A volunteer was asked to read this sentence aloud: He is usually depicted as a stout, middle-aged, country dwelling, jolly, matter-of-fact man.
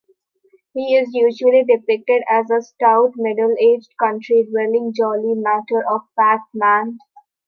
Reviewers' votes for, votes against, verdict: 2, 0, accepted